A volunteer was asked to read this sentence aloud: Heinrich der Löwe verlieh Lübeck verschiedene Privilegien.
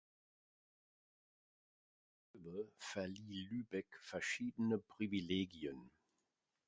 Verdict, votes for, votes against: rejected, 0, 2